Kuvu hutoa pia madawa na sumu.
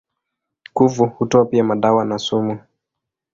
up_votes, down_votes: 2, 0